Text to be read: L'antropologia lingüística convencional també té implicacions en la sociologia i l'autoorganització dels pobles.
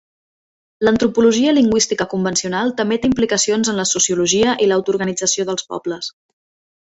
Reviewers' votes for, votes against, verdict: 2, 0, accepted